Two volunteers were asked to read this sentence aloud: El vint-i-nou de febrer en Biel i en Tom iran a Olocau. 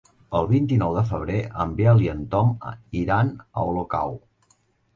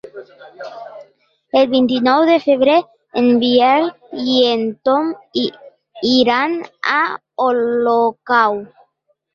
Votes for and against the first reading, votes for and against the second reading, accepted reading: 3, 0, 1, 2, first